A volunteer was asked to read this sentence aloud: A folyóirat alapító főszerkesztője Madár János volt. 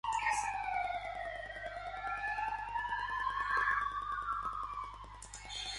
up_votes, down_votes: 0, 3